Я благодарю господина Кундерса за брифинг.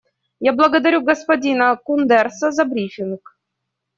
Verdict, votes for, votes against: accepted, 2, 0